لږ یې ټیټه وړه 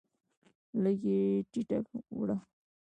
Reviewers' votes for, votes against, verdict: 1, 2, rejected